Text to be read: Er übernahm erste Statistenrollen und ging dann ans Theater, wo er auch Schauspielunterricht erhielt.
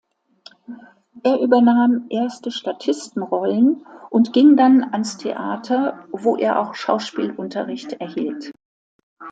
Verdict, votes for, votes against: accepted, 2, 0